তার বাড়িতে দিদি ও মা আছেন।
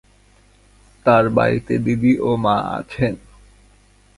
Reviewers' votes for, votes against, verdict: 2, 0, accepted